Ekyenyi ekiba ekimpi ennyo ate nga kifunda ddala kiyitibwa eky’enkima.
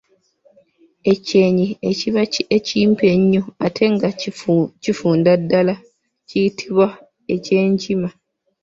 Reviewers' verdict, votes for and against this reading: rejected, 0, 2